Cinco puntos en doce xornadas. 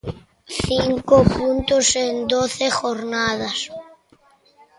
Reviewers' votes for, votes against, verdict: 0, 2, rejected